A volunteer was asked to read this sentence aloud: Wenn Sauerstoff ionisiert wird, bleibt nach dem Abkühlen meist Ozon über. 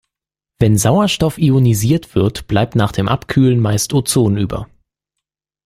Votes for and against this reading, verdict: 2, 0, accepted